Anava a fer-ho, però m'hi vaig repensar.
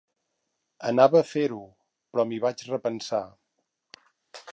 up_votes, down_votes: 2, 0